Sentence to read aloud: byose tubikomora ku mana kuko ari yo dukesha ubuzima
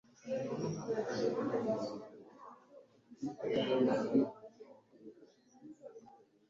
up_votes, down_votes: 1, 2